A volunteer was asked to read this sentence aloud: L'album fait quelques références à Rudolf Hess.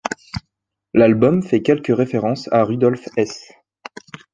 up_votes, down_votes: 2, 0